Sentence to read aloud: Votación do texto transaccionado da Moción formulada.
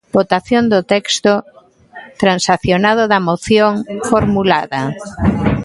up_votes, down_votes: 2, 0